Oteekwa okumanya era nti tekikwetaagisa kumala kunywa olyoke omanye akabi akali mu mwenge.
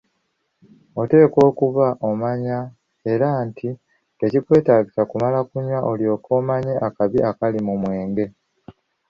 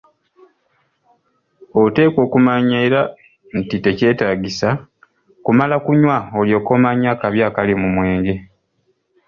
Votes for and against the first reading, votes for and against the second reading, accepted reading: 0, 2, 2, 1, second